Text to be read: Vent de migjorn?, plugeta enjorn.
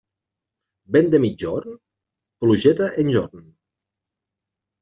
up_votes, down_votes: 2, 1